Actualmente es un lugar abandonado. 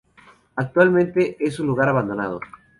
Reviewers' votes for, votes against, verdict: 0, 2, rejected